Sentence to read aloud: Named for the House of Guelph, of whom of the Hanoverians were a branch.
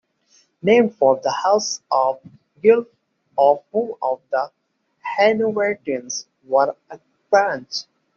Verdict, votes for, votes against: rejected, 1, 2